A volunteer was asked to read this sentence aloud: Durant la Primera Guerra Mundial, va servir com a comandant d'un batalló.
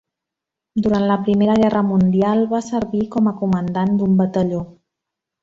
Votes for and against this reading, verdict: 3, 0, accepted